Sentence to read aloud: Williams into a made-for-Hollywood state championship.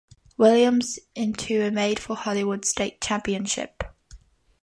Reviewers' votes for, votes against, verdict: 3, 0, accepted